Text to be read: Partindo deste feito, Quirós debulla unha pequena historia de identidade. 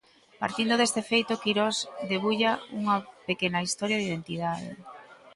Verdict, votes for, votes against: accepted, 2, 1